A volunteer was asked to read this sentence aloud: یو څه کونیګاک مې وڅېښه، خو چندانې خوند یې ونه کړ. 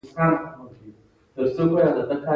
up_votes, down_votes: 1, 2